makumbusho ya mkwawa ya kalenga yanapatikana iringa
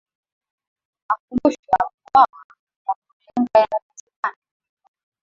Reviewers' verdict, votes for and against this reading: rejected, 0, 2